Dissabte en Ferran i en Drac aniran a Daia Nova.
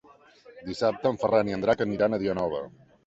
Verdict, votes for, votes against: rejected, 1, 2